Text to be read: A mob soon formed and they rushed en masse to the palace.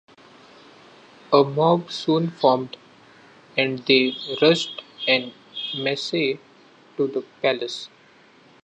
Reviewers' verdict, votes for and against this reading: rejected, 0, 2